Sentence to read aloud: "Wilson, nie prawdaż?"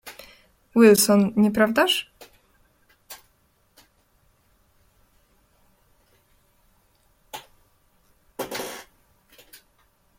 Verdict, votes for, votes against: accepted, 2, 0